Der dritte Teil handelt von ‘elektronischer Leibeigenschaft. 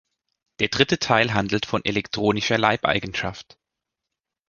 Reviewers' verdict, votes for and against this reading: accepted, 2, 0